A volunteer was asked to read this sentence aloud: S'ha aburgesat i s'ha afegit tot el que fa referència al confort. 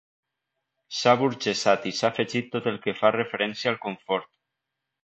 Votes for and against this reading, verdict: 2, 0, accepted